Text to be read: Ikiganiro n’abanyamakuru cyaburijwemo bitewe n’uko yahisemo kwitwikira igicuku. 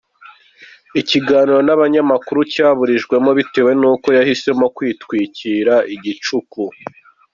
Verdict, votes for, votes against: accepted, 2, 0